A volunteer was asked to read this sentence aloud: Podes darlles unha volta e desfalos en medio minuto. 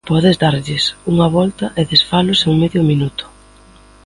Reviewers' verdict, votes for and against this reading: accepted, 2, 0